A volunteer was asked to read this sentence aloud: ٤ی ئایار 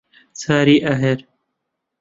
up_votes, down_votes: 0, 2